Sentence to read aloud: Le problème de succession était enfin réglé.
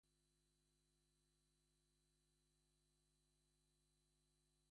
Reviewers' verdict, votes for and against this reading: rejected, 0, 2